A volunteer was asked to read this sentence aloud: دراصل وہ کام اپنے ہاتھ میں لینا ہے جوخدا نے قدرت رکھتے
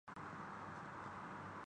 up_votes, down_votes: 0, 2